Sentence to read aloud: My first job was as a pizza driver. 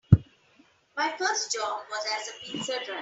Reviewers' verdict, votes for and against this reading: rejected, 0, 3